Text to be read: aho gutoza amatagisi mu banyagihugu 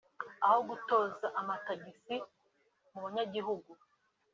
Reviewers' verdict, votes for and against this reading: accepted, 2, 0